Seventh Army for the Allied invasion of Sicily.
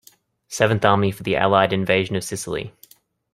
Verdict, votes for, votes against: accepted, 2, 0